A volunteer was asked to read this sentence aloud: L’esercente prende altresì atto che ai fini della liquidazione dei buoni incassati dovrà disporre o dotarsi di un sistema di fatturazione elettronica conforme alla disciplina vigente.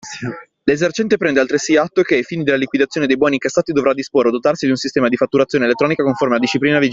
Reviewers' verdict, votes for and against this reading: accepted, 2, 0